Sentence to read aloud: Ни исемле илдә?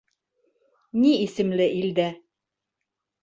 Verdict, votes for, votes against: accepted, 2, 0